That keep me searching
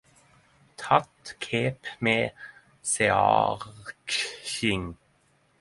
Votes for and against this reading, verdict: 5, 5, rejected